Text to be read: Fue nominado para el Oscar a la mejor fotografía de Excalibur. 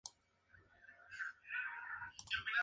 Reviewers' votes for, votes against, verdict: 0, 4, rejected